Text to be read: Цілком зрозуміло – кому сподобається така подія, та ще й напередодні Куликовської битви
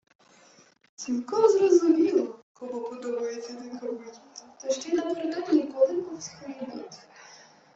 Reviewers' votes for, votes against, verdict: 0, 2, rejected